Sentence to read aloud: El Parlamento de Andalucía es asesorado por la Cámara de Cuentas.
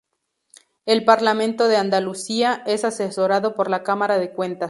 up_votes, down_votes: 2, 2